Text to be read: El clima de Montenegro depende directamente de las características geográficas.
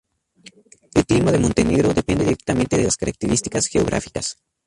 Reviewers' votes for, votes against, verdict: 0, 2, rejected